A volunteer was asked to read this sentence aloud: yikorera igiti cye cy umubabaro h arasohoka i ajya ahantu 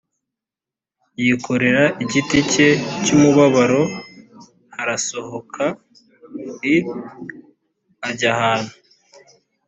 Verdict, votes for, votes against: accepted, 2, 0